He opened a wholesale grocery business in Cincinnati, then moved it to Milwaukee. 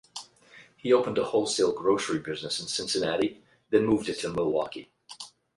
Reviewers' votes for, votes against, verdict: 8, 0, accepted